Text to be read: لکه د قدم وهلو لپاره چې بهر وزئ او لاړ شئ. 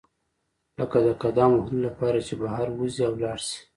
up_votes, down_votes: 1, 2